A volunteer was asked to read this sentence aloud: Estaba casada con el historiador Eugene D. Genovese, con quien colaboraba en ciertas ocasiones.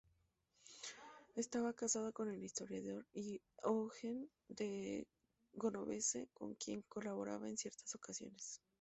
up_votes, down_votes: 0, 2